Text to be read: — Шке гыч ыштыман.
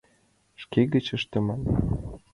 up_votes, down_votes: 2, 0